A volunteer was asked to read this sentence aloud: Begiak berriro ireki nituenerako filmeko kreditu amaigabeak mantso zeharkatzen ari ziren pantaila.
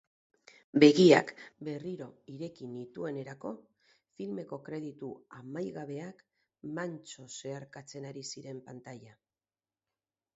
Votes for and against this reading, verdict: 0, 2, rejected